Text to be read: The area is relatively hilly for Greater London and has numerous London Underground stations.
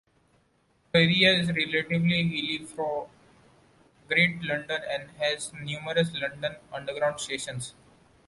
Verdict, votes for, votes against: rejected, 0, 2